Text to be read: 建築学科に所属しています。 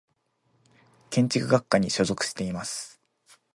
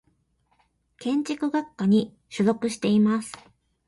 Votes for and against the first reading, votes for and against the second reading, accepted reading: 1, 2, 2, 0, second